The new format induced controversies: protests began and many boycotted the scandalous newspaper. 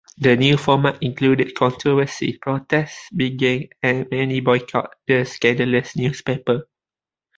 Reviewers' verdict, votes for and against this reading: rejected, 1, 2